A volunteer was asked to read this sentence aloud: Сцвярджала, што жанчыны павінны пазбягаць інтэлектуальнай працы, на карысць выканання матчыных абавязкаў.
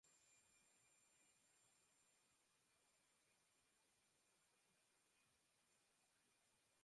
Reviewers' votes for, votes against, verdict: 0, 2, rejected